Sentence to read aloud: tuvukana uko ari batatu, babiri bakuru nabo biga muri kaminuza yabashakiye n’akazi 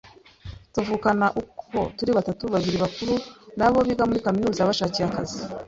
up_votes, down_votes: 1, 2